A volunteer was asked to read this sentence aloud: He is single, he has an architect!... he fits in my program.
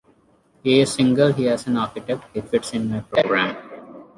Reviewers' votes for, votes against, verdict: 0, 2, rejected